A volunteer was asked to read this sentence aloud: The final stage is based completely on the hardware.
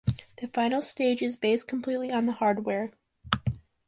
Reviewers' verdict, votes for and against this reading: accepted, 2, 0